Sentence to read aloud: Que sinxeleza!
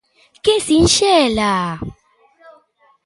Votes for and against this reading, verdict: 0, 2, rejected